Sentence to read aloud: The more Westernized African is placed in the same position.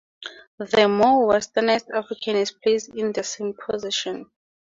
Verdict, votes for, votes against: rejected, 2, 2